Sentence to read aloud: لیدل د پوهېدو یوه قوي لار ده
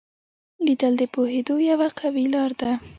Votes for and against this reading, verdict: 1, 2, rejected